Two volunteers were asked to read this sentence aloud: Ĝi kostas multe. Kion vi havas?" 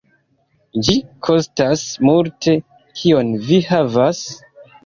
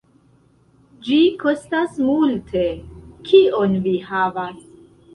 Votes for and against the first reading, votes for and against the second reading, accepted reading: 2, 0, 1, 2, first